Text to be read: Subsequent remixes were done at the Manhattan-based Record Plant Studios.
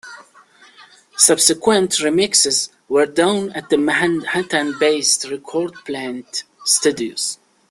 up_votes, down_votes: 1, 2